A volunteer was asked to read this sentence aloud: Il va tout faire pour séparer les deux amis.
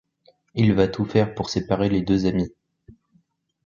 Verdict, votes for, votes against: accepted, 2, 0